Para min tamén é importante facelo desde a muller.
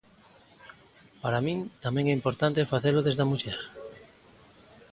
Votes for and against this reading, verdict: 2, 0, accepted